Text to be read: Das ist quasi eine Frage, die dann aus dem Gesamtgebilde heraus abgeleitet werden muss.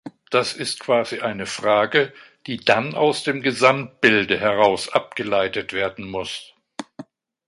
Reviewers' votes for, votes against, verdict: 1, 2, rejected